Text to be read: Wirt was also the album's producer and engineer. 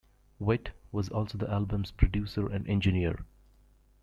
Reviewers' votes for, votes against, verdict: 2, 0, accepted